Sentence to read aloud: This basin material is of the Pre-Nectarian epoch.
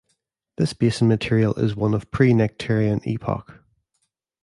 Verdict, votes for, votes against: rejected, 0, 2